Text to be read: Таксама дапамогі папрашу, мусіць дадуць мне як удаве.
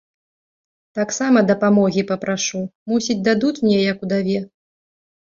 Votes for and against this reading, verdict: 1, 2, rejected